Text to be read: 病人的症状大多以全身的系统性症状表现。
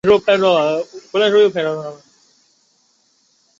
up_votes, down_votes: 0, 5